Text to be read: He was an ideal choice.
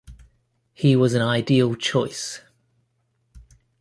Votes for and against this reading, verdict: 2, 0, accepted